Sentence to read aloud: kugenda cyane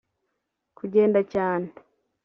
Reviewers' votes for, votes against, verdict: 2, 0, accepted